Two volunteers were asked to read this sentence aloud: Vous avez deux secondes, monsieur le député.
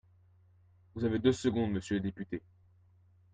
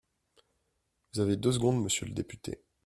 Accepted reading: first